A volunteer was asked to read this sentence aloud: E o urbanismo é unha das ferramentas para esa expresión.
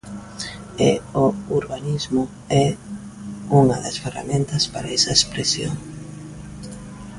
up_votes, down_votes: 2, 0